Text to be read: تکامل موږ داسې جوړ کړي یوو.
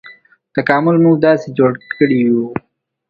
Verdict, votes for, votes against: accepted, 2, 0